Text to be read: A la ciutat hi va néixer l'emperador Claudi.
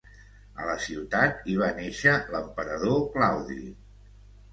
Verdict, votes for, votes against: accepted, 2, 0